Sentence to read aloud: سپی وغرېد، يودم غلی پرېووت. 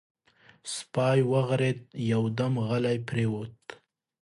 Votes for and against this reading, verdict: 2, 0, accepted